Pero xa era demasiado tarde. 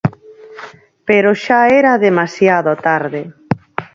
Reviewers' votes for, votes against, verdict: 4, 2, accepted